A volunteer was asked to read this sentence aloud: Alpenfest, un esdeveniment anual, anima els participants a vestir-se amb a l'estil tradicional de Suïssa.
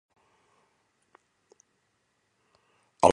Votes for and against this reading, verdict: 0, 2, rejected